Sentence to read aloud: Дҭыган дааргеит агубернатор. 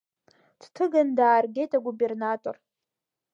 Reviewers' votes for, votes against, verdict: 2, 0, accepted